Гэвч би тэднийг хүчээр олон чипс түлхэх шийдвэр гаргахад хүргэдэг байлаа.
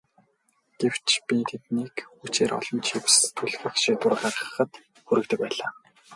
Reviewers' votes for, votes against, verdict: 0, 2, rejected